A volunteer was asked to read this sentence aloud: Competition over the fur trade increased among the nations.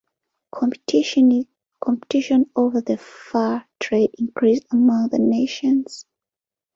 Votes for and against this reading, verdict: 0, 2, rejected